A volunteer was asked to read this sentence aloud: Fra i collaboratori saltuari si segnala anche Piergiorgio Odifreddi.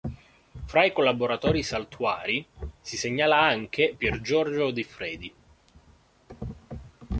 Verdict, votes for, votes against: rejected, 0, 2